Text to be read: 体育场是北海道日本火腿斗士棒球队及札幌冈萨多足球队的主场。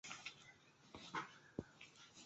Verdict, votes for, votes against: rejected, 1, 2